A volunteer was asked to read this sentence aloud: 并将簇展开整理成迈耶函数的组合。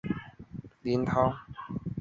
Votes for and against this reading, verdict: 2, 0, accepted